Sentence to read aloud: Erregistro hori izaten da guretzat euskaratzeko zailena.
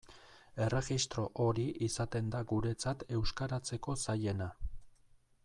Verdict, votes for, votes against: rejected, 0, 2